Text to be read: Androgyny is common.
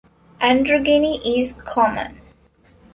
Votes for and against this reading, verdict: 0, 2, rejected